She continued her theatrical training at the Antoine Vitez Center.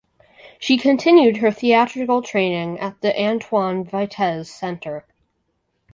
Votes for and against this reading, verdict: 4, 0, accepted